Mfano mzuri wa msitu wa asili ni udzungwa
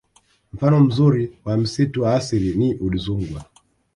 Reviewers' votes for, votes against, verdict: 1, 2, rejected